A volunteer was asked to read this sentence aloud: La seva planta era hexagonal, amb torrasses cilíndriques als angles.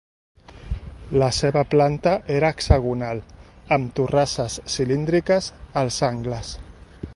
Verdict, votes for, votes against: accepted, 2, 0